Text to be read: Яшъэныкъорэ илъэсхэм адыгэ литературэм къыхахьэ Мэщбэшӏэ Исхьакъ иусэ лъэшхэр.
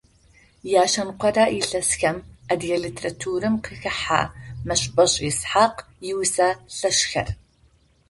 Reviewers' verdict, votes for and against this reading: accepted, 2, 0